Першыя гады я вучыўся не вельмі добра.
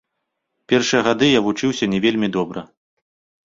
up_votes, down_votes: 2, 0